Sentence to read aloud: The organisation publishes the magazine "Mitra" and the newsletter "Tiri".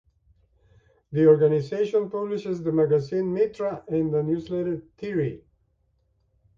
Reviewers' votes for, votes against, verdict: 2, 0, accepted